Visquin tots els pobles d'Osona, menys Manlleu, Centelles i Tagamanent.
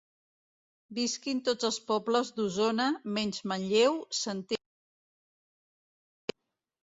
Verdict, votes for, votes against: rejected, 0, 3